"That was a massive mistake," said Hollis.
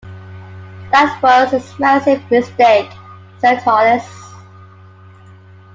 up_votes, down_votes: 2, 0